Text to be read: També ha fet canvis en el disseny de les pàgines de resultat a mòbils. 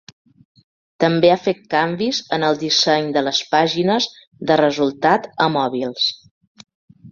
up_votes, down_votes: 3, 1